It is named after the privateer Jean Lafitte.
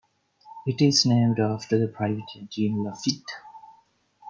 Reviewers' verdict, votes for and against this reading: rejected, 0, 2